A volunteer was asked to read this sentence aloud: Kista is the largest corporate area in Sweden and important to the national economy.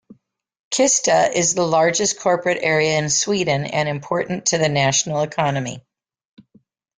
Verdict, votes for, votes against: accepted, 2, 0